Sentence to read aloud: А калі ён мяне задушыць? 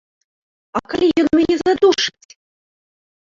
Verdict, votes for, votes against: rejected, 2, 3